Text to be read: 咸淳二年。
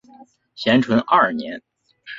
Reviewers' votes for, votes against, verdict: 2, 0, accepted